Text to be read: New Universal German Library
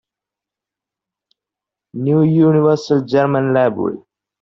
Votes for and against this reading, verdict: 2, 0, accepted